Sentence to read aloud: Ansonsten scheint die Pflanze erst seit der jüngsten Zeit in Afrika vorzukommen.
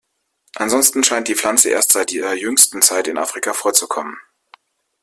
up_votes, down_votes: 1, 2